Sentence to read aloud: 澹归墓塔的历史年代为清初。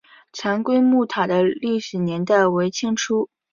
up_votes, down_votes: 2, 0